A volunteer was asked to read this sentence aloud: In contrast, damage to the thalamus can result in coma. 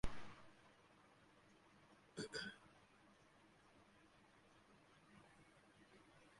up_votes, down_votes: 0, 2